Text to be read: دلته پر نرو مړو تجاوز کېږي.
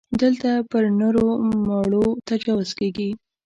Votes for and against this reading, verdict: 2, 0, accepted